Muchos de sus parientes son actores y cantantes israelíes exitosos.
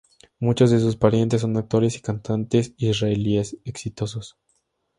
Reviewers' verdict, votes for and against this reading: accepted, 2, 0